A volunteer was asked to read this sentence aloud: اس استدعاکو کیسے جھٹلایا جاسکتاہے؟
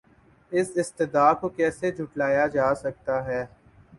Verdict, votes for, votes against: accepted, 8, 1